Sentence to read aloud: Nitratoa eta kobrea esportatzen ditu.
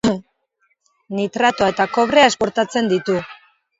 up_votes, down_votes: 0, 3